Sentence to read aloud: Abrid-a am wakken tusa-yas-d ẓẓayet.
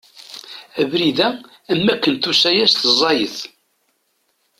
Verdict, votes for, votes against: accepted, 2, 0